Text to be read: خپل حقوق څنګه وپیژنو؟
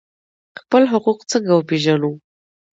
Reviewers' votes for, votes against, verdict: 2, 0, accepted